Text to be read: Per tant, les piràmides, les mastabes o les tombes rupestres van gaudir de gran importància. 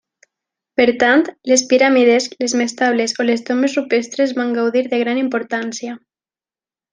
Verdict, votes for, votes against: rejected, 1, 2